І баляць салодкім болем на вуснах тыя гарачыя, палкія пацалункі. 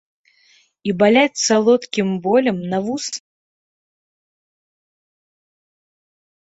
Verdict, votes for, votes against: rejected, 0, 2